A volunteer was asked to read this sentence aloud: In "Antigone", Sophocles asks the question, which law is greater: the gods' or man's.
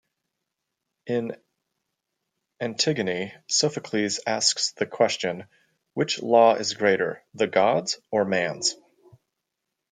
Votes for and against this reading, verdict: 2, 0, accepted